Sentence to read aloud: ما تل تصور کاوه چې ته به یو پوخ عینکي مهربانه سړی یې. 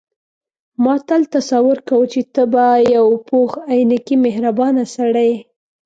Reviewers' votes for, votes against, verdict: 2, 0, accepted